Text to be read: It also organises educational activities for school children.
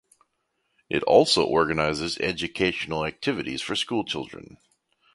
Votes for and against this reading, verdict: 2, 0, accepted